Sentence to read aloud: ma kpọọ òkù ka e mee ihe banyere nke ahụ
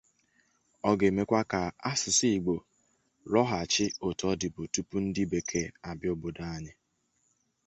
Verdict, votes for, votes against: rejected, 0, 2